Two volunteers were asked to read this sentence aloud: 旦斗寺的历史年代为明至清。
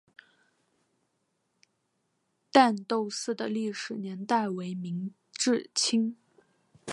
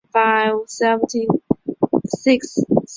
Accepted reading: first